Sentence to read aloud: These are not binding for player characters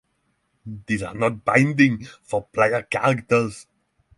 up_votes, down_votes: 6, 0